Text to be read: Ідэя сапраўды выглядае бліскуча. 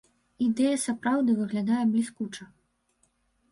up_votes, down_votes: 0, 2